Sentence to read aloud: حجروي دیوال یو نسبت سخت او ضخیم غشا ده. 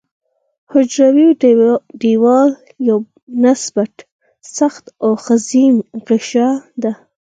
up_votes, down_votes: 0, 4